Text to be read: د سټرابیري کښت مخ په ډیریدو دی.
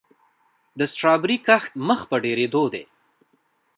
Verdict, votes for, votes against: rejected, 0, 2